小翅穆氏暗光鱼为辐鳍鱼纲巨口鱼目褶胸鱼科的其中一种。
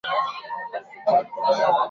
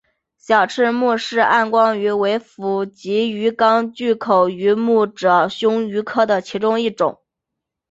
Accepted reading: second